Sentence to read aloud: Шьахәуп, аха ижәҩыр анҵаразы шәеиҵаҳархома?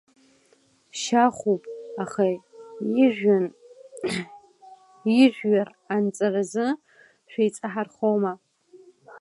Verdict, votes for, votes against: rejected, 0, 2